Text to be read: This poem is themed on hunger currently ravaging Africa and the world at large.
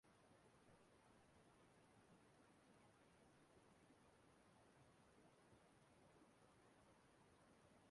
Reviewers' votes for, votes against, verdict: 0, 2, rejected